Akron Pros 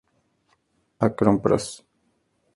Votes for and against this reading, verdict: 2, 0, accepted